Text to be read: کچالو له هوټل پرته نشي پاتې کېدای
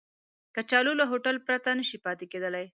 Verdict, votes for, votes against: accepted, 2, 0